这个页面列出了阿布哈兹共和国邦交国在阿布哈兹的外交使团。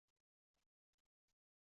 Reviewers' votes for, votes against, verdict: 0, 2, rejected